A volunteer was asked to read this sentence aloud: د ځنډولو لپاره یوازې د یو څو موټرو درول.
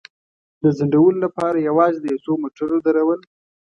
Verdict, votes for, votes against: accepted, 2, 0